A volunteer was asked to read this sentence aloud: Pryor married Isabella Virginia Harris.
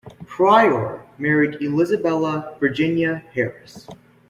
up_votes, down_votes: 0, 2